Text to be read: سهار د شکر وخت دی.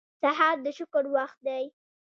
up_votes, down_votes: 2, 0